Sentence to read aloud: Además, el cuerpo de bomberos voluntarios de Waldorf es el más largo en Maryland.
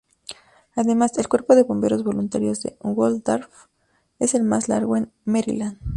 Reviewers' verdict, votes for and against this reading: accepted, 4, 0